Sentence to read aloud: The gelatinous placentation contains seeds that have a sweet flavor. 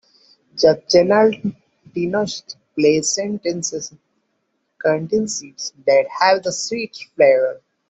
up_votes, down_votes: 1, 2